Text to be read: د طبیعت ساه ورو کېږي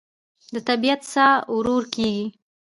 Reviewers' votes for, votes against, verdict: 1, 2, rejected